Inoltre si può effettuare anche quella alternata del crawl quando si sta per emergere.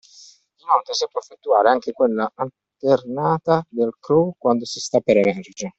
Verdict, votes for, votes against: accepted, 2, 1